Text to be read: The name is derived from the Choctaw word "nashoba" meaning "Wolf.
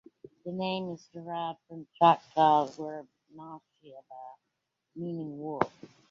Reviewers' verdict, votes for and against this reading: rejected, 0, 2